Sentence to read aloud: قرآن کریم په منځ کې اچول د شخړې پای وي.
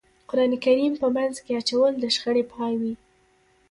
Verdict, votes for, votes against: accepted, 2, 1